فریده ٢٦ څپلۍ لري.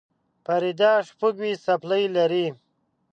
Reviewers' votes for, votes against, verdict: 0, 2, rejected